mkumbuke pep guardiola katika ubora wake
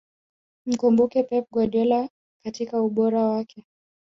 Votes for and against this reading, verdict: 1, 2, rejected